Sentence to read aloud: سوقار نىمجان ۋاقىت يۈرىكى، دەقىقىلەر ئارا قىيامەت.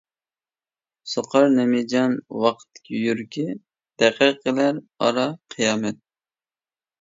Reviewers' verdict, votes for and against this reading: accepted, 2, 1